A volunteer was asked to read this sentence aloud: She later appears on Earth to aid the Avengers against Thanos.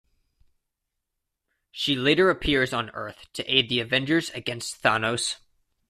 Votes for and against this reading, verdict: 2, 1, accepted